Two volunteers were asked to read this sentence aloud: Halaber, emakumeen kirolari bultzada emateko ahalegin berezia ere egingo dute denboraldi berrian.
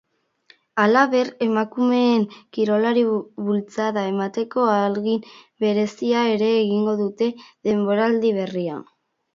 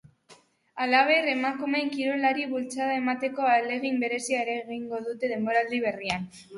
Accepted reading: second